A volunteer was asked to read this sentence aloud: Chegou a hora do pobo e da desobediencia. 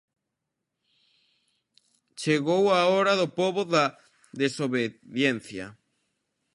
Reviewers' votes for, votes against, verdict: 0, 2, rejected